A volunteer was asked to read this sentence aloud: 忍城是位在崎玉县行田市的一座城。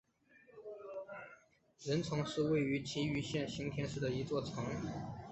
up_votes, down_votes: 4, 3